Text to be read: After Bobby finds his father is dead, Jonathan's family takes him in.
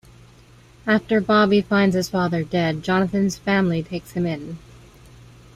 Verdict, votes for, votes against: rejected, 1, 2